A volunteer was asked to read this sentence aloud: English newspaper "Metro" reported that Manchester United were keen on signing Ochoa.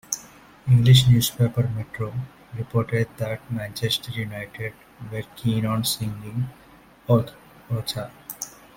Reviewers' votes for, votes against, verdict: 1, 2, rejected